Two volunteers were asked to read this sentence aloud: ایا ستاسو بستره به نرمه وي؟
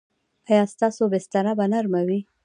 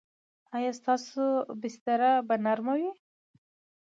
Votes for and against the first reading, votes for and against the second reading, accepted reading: 1, 2, 2, 0, second